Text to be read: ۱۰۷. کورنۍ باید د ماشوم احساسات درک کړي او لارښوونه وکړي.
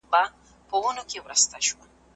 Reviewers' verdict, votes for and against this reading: rejected, 0, 2